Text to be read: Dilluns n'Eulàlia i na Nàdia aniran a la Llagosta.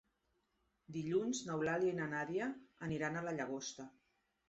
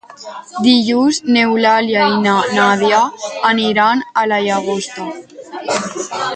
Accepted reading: first